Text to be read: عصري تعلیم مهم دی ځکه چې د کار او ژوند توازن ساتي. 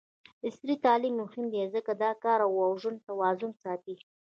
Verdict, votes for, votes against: rejected, 1, 2